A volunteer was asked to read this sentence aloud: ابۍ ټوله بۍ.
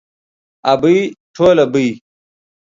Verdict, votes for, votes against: accepted, 2, 0